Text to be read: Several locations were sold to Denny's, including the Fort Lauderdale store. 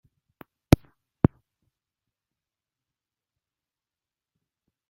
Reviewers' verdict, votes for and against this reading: rejected, 0, 2